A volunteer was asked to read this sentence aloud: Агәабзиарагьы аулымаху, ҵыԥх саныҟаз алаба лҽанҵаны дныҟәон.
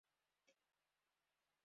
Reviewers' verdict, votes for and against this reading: rejected, 1, 2